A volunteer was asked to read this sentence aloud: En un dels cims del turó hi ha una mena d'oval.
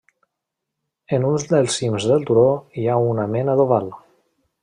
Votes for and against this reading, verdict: 0, 2, rejected